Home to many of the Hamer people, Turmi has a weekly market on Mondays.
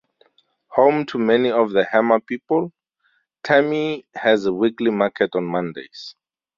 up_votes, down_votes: 0, 2